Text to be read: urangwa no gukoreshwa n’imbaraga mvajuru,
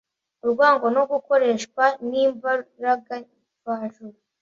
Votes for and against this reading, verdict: 1, 2, rejected